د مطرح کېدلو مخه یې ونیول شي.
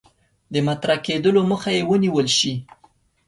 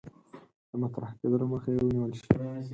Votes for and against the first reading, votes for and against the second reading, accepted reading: 2, 0, 2, 4, first